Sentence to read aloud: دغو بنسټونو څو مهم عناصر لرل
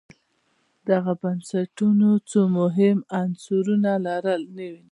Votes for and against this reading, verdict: 2, 0, accepted